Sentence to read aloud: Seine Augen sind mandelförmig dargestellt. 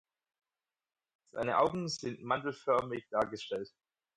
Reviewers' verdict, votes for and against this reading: accepted, 4, 0